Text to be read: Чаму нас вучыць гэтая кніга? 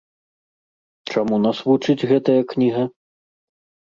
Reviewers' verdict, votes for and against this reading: accepted, 2, 0